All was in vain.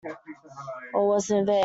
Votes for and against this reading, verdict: 1, 2, rejected